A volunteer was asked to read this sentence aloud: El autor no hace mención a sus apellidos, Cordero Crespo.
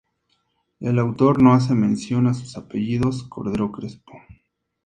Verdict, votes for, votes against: accepted, 2, 0